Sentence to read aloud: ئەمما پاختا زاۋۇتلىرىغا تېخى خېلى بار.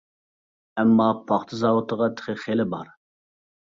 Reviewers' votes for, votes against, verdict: 0, 2, rejected